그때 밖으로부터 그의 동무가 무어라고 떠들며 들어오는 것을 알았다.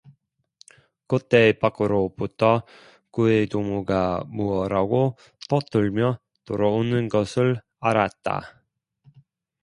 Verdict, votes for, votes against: accepted, 2, 0